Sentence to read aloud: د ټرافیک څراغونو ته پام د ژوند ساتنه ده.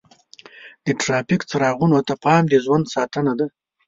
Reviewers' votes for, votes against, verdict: 2, 0, accepted